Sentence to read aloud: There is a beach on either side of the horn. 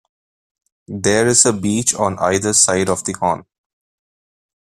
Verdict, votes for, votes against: accepted, 2, 1